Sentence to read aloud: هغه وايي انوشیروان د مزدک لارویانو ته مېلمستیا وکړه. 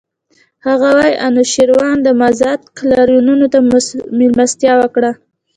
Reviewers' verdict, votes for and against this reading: accepted, 2, 0